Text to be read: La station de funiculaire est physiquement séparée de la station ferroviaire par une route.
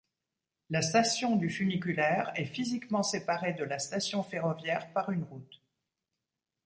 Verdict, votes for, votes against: rejected, 1, 2